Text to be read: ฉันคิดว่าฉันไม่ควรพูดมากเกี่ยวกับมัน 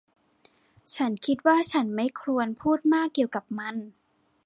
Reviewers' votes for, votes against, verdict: 2, 1, accepted